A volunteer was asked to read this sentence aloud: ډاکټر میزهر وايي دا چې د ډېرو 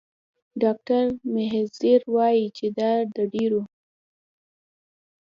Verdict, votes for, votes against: rejected, 1, 2